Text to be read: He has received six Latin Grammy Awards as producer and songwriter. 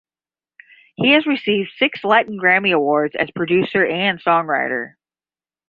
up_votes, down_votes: 10, 0